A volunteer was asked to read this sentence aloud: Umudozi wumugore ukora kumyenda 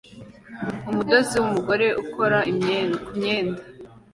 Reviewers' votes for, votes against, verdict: 2, 1, accepted